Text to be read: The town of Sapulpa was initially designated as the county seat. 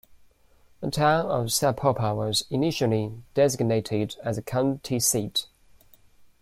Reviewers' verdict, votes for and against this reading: accepted, 2, 0